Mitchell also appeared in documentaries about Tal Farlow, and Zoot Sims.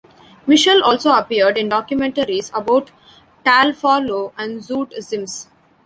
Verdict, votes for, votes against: accepted, 2, 1